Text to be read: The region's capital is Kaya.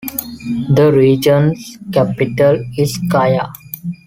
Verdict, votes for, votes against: accepted, 2, 0